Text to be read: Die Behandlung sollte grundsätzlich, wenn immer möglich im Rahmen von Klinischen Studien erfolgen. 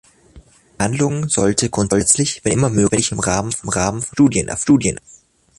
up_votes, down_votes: 0, 2